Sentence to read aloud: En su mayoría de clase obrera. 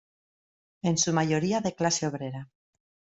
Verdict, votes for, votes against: accepted, 2, 0